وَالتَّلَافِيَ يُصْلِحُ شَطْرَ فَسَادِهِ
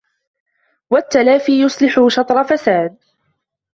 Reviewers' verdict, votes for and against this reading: rejected, 0, 2